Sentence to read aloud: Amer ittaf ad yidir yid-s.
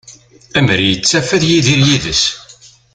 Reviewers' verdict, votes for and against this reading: accepted, 2, 0